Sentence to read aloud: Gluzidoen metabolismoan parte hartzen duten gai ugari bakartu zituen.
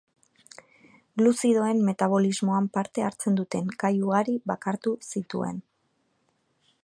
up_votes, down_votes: 2, 0